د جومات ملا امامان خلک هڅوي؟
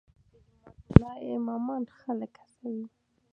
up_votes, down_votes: 0, 2